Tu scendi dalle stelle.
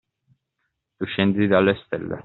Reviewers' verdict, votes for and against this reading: accepted, 2, 1